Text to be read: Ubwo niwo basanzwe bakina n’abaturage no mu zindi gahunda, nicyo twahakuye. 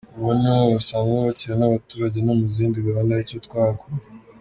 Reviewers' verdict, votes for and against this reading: rejected, 1, 2